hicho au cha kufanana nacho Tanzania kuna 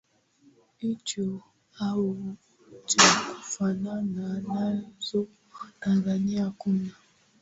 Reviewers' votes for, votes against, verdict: 2, 0, accepted